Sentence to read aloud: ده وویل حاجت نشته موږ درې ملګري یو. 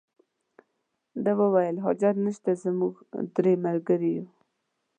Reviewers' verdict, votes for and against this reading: rejected, 0, 2